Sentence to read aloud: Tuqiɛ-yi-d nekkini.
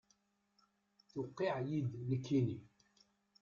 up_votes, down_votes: 1, 2